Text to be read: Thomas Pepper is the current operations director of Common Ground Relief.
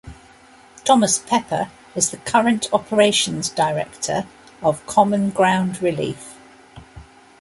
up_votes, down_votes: 2, 0